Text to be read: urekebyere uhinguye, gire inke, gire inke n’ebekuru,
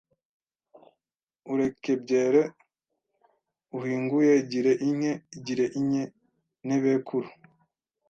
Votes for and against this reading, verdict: 1, 2, rejected